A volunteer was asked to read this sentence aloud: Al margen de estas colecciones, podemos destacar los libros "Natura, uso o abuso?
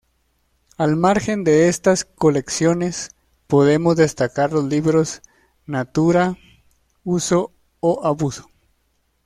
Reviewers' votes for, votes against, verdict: 2, 0, accepted